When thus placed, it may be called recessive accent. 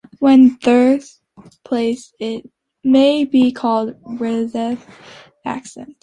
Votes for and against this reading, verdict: 0, 2, rejected